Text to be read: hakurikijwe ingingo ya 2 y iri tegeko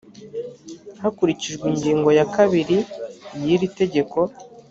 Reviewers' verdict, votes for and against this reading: rejected, 0, 2